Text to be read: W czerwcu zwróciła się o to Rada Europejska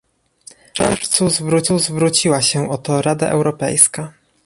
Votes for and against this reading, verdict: 0, 2, rejected